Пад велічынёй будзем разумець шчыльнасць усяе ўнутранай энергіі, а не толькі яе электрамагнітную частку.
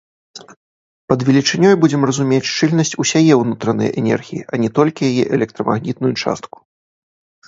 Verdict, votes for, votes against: rejected, 1, 2